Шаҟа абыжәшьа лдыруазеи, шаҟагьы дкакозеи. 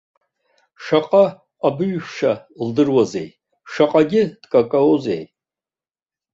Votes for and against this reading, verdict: 2, 0, accepted